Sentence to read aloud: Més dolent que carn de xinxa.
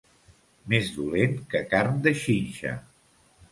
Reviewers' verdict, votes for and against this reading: accepted, 2, 0